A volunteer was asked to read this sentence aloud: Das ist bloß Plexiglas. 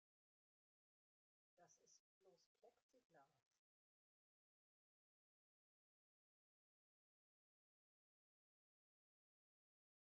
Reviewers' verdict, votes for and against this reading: rejected, 0, 2